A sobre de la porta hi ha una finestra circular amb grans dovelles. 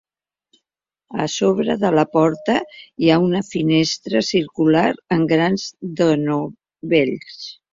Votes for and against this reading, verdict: 0, 2, rejected